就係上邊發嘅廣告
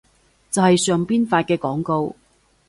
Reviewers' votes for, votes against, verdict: 2, 0, accepted